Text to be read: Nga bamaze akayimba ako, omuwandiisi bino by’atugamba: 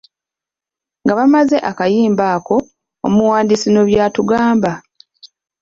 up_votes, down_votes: 1, 2